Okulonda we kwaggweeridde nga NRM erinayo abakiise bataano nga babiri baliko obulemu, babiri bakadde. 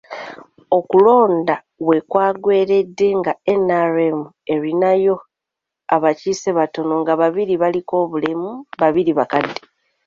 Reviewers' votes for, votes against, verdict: 1, 2, rejected